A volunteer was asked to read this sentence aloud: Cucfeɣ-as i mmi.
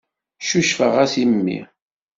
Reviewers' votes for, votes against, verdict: 2, 0, accepted